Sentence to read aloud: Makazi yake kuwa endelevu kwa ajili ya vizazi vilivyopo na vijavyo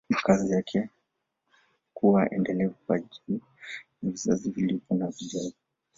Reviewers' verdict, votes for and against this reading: accepted, 2, 0